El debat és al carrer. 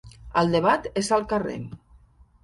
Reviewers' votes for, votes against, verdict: 3, 0, accepted